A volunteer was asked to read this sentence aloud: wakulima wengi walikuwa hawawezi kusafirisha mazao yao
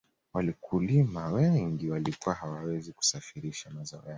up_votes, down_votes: 2, 0